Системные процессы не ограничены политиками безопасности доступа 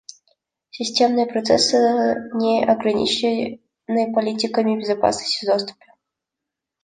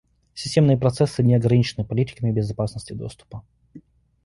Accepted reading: second